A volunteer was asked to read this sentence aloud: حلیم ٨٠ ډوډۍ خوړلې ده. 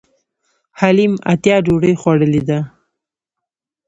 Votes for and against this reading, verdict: 0, 2, rejected